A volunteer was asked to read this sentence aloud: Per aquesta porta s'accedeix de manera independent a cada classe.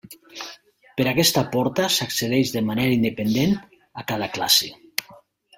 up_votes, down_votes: 3, 0